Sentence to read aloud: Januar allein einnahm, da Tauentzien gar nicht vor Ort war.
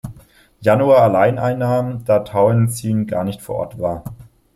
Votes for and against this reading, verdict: 2, 0, accepted